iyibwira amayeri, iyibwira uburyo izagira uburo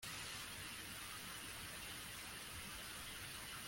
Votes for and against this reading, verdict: 0, 2, rejected